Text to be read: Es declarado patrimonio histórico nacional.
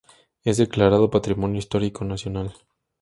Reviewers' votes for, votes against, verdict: 2, 0, accepted